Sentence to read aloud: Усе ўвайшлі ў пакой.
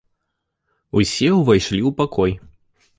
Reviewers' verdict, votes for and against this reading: accepted, 2, 0